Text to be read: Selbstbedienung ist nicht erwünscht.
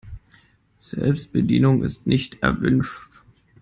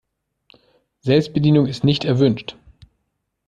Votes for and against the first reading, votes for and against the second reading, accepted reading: 0, 2, 2, 0, second